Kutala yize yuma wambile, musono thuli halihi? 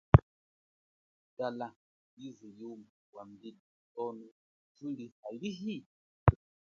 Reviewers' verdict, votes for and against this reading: rejected, 0, 2